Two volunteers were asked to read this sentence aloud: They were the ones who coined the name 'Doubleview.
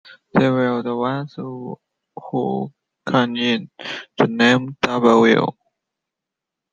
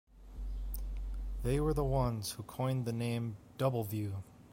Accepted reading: second